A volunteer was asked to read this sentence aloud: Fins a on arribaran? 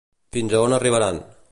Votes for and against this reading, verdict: 2, 0, accepted